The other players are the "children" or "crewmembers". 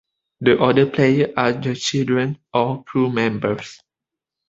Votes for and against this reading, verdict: 0, 2, rejected